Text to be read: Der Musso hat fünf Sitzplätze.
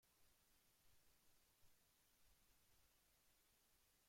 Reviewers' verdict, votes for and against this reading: rejected, 0, 2